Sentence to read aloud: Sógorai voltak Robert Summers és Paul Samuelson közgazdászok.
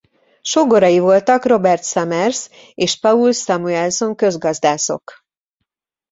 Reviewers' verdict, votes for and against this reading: rejected, 0, 2